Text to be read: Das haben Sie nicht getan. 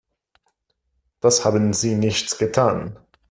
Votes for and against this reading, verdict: 0, 2, rejected